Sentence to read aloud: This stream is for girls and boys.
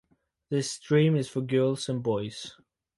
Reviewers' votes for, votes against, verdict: 2, 2, rejected